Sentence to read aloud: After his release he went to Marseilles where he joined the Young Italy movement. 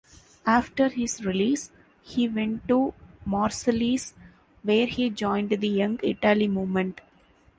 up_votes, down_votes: 0, 2